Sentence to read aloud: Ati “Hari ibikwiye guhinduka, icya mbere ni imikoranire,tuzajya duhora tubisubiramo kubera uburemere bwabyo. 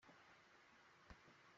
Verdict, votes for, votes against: rejected, 0, 2